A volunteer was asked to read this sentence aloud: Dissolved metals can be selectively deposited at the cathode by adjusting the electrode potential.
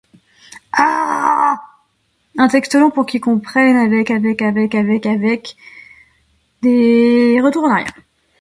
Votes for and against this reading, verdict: 0, 2, rejected